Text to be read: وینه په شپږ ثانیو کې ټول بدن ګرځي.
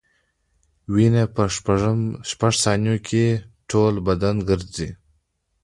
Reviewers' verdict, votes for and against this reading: rejected, 1, 2